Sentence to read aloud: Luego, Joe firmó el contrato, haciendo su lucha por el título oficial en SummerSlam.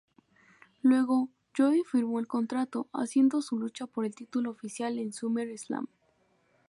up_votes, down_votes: 2, 0